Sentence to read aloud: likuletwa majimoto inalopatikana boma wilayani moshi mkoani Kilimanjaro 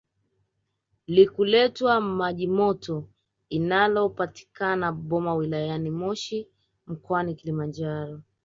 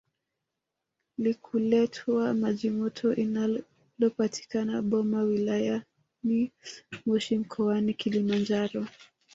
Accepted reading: first